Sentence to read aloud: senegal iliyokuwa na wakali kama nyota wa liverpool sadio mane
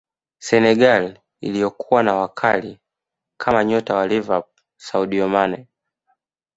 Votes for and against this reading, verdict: 2, 0, accepted